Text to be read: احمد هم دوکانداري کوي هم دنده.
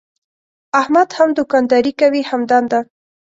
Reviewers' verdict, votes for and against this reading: accepted, 2, 0